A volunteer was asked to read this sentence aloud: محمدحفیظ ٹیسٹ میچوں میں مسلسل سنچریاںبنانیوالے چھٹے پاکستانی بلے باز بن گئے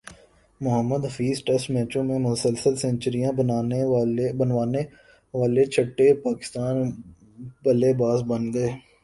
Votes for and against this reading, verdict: 4, 0, accepted